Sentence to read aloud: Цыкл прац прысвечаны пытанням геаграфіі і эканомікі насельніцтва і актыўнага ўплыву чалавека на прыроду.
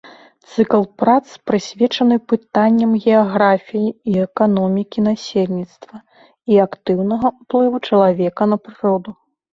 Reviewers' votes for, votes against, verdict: 2, 0, accepted